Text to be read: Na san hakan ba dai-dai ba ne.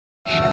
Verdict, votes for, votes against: rejected, 0, 2